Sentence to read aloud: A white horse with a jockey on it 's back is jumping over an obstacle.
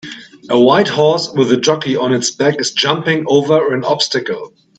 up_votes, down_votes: 1, 2